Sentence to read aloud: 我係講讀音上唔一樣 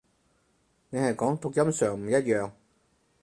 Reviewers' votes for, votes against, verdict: 0, 4, rejected